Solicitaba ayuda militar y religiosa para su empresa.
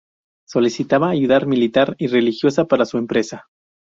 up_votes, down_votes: 0, 2